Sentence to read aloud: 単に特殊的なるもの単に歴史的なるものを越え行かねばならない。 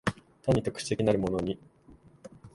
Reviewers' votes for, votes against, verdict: 0, 2, rejected